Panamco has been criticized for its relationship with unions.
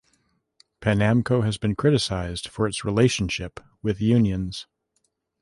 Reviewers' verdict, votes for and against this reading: accepted, 2, 0